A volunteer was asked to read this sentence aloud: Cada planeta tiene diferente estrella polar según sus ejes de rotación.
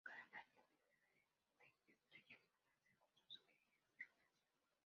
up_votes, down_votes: 0, 2